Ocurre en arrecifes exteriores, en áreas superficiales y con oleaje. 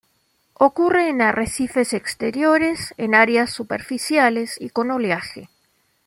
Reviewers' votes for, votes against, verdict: 2, 0, accepted